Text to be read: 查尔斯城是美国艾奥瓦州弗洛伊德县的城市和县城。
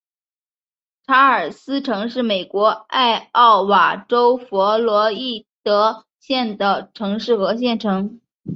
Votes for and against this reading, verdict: 3, 1, accepted